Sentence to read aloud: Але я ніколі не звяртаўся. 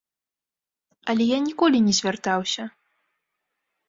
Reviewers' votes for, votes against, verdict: 2, 0, accepted